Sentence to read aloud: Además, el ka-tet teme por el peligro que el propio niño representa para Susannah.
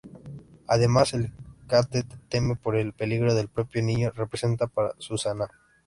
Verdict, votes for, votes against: rejected, 0, 2